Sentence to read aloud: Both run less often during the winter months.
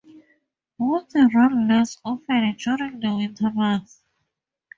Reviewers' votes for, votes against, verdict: 2, 0, accepted